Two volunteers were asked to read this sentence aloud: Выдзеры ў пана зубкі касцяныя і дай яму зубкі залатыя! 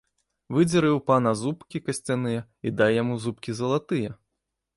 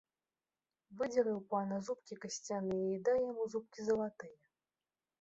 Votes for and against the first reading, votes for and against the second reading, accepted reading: 2, 0, 1, 3, first